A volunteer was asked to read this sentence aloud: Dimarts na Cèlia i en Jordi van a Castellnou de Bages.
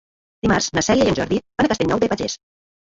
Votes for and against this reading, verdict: 0, 2, rejected